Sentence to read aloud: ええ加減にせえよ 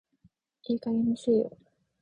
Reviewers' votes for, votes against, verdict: 2, 4, rejected